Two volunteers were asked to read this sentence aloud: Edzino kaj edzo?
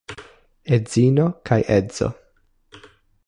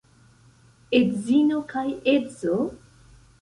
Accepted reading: first